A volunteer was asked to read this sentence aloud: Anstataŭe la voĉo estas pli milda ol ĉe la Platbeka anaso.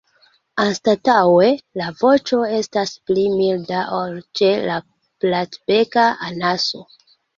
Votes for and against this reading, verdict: 1, 2, rejected